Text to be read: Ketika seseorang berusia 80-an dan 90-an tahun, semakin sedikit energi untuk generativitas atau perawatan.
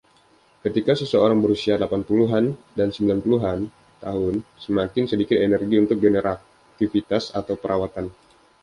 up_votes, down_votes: 0, 2